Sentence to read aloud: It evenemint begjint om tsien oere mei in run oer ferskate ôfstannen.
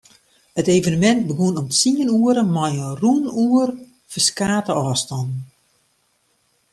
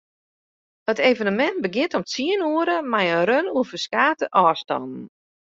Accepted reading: second